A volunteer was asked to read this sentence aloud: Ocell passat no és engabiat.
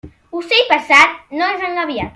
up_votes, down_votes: 2, 0